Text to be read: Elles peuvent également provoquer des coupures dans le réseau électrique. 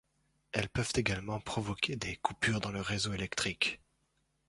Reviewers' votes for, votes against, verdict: 2, 0, accepted